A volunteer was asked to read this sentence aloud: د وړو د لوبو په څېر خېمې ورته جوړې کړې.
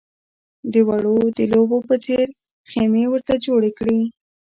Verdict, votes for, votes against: accepted, 2, 0